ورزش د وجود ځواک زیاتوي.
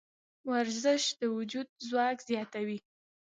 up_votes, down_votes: 1, 2